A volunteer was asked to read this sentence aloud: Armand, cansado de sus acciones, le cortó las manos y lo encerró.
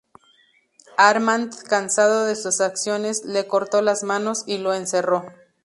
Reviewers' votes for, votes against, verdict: 2, 0, accepted